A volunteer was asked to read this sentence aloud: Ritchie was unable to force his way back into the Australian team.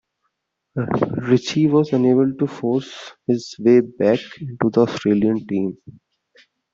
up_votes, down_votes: 2, 1